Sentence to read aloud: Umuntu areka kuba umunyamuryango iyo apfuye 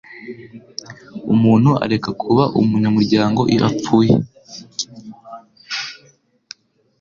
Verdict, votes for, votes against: accepted, 4, 0